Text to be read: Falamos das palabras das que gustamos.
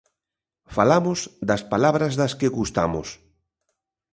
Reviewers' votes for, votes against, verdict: 2, 0, accepted